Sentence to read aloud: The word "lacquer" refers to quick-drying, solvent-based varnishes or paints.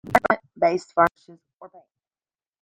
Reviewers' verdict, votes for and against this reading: rejected, 0, 2